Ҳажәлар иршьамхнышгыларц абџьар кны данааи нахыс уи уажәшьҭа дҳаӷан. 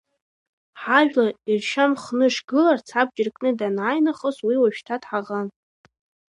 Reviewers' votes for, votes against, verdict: 0, 3, rejected